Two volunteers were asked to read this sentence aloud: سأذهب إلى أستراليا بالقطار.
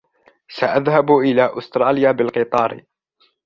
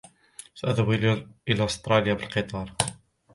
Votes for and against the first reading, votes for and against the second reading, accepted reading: 2, 0, 0, 2, first